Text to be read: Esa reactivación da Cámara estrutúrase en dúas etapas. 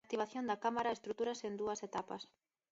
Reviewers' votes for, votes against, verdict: 0, 2, rejected